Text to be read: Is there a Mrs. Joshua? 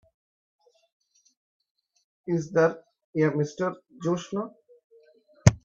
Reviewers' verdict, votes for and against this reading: rejected, 0, 4